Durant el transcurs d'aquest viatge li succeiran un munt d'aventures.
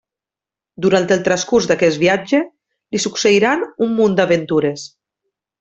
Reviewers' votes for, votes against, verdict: 3, 0, accepted